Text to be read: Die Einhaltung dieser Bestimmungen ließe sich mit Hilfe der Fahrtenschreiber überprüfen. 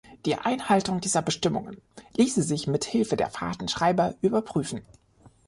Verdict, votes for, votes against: accepted, 3, 0